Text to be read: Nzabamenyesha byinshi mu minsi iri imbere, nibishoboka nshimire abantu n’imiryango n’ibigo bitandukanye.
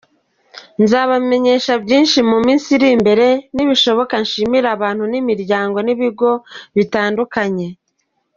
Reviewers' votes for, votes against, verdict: 2, 0, accepted